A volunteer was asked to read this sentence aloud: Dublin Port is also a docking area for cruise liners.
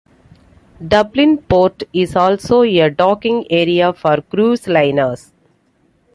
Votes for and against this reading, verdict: 2, 0, accepted